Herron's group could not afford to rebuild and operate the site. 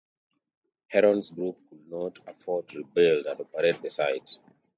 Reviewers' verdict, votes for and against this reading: rejected, 0, 2